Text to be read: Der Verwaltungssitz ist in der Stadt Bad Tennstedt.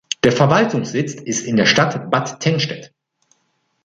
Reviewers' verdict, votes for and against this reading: accepted, 2, 0